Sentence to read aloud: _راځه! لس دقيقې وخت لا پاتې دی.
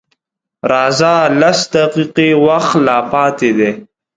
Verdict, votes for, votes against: accepted, 4, 1